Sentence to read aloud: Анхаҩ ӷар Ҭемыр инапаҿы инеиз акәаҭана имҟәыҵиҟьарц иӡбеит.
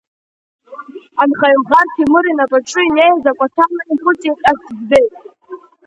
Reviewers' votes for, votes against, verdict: 1, 3, rejected